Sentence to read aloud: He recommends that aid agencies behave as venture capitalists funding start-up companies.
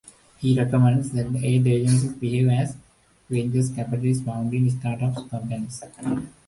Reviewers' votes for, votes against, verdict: 2, 1, accepted